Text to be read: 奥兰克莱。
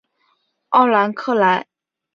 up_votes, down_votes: 5, 0